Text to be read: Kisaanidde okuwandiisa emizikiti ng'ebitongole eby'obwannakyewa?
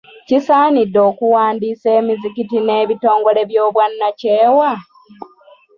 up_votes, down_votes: 0, 2